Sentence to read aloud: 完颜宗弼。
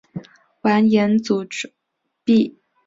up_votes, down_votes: 1, 2